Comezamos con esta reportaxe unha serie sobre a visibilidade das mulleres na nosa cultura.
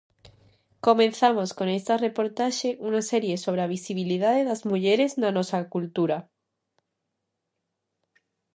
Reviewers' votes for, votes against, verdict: 0, 2, rejected